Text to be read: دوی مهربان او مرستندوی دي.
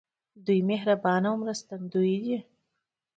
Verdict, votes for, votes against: accepted, 2, 0